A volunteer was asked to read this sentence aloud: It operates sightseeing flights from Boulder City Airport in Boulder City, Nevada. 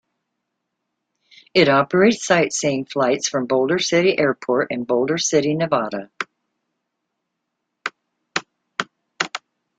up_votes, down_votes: 2, 0